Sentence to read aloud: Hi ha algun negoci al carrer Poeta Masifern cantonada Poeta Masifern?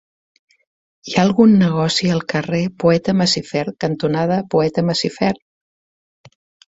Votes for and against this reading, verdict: 3, 0, accepted